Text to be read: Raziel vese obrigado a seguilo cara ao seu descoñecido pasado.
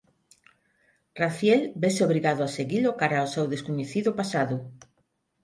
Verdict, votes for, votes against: accepted, 6, 0